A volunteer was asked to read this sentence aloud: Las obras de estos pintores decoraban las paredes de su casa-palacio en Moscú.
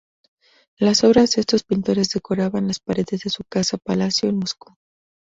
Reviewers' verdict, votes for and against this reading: accepted, 2, 0